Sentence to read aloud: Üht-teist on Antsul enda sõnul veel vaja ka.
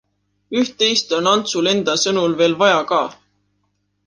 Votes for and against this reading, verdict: 2, 0, accepted